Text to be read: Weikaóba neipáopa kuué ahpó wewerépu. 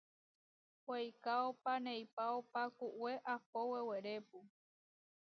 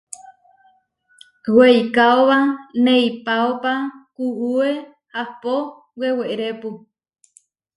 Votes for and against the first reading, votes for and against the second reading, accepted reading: 1, 2, 2, 0, second